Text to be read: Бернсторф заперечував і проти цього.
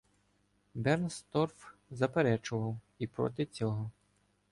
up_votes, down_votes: 2, 0